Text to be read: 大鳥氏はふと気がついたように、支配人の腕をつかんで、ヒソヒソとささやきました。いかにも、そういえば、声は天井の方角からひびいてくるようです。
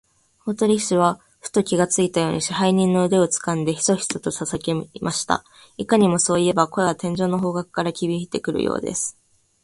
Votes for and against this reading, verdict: 2, 1, accepted